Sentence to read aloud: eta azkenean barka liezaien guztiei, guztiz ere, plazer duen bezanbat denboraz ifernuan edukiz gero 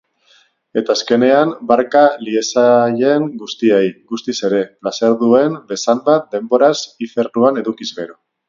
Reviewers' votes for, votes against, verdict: 2, 2, rejected